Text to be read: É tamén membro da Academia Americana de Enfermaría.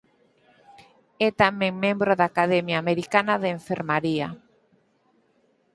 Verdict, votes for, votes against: accepted, 4, 0